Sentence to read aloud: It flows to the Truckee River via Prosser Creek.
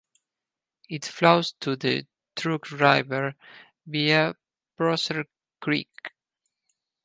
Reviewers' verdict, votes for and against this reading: rejected, 0, 4